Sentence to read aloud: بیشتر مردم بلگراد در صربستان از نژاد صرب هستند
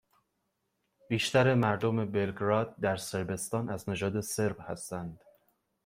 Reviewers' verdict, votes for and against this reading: accepted, 2, 0